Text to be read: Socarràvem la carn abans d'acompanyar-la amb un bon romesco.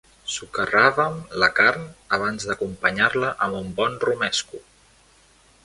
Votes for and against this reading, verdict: 2, 0, accepted